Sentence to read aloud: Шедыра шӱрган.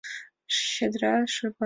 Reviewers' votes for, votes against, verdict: 1, 2, rejected